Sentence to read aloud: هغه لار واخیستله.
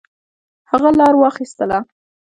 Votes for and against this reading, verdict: 0, 2, rejected